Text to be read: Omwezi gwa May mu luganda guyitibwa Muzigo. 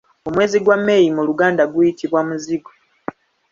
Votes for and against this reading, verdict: 2, 1, accepted